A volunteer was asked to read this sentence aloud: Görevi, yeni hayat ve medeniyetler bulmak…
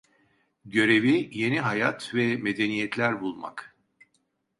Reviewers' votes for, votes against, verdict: 2, 0, accepted